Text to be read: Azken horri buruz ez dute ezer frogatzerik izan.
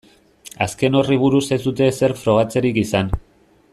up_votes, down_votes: 2, 0